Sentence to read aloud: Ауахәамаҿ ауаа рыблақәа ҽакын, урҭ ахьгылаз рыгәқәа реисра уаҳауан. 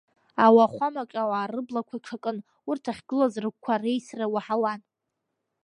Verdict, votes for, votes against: accepted, 2, 0